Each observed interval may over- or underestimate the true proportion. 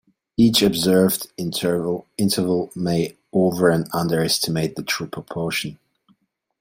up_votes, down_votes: 2, 1